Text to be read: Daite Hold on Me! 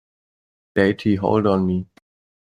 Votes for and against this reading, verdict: 2, 1, accepted